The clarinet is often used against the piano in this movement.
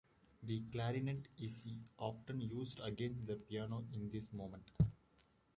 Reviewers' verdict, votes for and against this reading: rejected, 0, 2